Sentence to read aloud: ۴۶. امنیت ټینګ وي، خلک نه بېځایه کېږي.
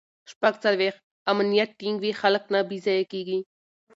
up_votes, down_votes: 0, 2